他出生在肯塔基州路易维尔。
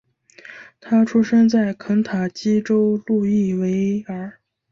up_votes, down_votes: 2, 1